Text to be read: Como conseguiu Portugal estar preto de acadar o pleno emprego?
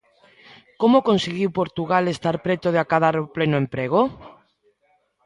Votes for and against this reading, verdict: 2, 0, accepted